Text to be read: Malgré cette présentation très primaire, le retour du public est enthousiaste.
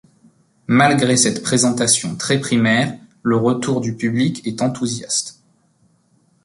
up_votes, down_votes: 2, 0